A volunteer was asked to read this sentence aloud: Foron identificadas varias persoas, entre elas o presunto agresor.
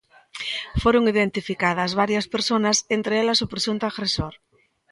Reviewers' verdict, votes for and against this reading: rejected, 0, 2